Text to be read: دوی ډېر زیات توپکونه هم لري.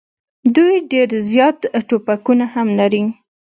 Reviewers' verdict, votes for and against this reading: rejected, 1, 2